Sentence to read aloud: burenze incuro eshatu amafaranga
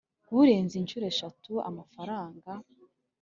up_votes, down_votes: 5, 0